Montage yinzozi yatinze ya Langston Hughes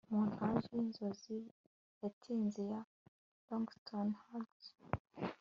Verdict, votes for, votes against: accepted, 2, 0